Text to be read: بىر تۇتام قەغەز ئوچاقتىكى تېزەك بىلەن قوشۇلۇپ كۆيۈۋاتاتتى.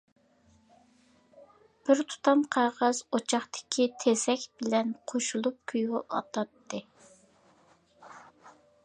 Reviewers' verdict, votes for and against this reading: accepted, 2, 1